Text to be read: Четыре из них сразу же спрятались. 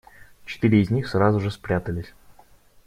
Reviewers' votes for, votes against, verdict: 2, 0, accepted